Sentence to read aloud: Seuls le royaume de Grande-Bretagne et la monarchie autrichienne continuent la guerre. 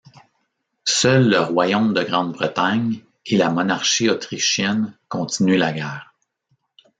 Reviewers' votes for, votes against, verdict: 2, 0, accepted